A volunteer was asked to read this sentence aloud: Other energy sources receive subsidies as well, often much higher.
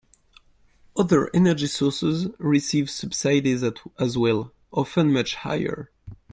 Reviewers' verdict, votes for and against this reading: rejected, 1, 2